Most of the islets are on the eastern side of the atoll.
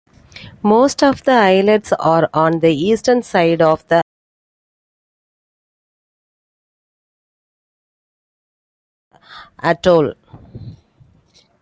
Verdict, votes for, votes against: accepted, 2, 1